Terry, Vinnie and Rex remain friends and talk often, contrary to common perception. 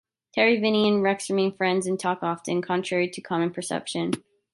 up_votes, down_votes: 2, 0